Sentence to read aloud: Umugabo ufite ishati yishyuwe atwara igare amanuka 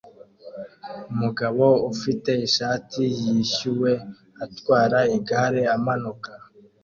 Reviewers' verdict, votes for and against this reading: accepted, 2, 0